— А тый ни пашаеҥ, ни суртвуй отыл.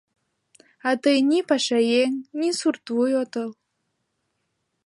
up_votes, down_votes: 2, 0